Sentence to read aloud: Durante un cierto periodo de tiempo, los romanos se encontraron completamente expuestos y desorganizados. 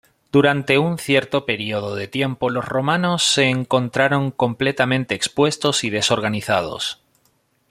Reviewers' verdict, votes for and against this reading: accepted, 2, 0